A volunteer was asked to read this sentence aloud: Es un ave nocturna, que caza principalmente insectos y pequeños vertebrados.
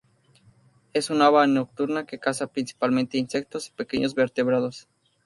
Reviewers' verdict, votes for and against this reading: rejected, 2, 2